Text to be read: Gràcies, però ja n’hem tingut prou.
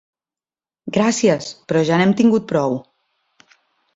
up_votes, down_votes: 3, 0